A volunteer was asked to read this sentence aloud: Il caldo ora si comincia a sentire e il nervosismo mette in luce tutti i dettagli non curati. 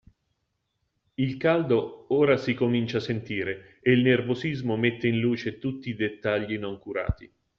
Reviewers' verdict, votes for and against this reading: accepted, 2, 0